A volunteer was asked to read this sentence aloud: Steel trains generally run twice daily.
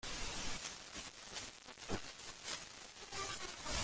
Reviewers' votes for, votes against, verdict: 0, 2, rejected